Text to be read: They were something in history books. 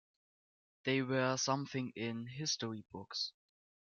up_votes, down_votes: 0, 2